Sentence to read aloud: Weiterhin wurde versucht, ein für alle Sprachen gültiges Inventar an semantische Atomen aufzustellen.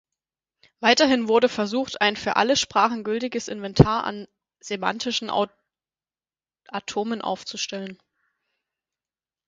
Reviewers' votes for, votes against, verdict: 0, 6, rejected